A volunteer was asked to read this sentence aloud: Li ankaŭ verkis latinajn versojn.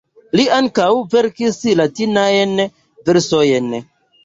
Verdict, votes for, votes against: accepted, 3, 0